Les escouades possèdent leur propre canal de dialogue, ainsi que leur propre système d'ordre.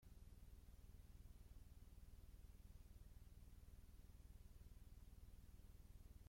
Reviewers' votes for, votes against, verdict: 0, 2, rejected